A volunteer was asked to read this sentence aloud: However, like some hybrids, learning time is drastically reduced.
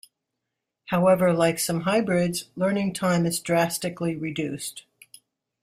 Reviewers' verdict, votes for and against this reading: accepted, 2, 1